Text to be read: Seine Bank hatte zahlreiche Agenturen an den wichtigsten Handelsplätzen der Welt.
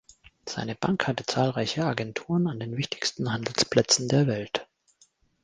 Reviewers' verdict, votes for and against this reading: accepted, 2, 0